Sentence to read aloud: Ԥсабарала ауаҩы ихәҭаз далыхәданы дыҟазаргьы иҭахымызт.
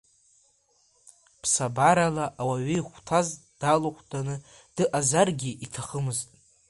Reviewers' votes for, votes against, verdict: 0, 2, rejected